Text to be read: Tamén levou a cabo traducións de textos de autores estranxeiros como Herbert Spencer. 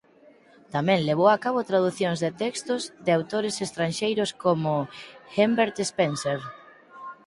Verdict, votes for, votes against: rejected, 0, 4